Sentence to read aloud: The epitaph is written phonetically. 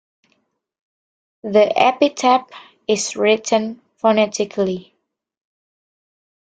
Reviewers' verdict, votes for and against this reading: rejected, 0, 2